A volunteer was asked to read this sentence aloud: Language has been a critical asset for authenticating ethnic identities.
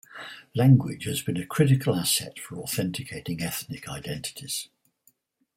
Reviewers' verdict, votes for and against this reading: rejected, 2, 4